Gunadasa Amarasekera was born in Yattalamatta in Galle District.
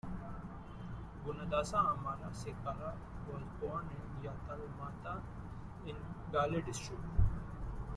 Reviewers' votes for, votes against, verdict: 0, 2, rejected